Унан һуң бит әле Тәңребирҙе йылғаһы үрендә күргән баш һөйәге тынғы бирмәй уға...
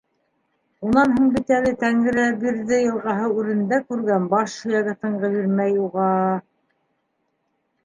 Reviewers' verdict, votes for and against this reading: accepted, 2, 1